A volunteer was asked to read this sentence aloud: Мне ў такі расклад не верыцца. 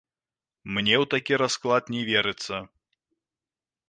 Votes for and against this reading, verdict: 2, 3, rejected